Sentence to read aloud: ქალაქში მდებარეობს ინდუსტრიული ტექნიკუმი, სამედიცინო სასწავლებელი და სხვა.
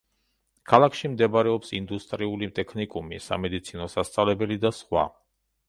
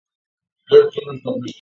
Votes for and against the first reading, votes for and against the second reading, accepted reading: 2, 0, 0, 2, first